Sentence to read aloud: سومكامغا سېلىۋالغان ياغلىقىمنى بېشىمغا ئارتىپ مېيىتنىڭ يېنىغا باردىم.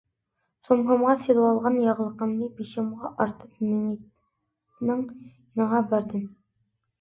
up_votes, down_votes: 0, 2